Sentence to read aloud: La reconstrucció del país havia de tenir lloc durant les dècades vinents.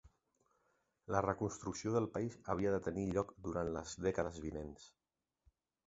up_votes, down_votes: 3, 1